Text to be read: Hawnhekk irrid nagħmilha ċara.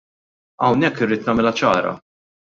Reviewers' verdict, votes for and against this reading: accepted, 2, 0